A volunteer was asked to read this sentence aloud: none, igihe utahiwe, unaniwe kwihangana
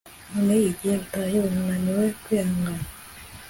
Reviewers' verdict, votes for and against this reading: accepted, 2, 0